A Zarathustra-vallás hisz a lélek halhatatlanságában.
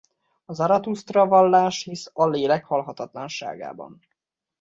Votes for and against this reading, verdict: 1, 2, rejected